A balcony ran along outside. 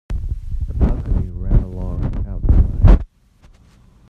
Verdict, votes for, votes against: rejected, 0, 2